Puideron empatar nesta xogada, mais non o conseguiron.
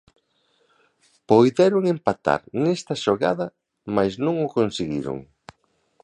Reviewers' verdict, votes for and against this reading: rejected, 0, 2